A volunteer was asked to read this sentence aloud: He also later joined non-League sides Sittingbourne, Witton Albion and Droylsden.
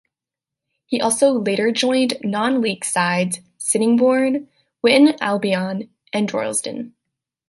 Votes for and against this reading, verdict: 2, 1, accepted